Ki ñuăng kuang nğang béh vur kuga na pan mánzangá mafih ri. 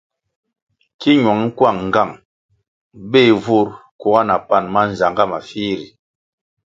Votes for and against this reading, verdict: 2, 0, accepted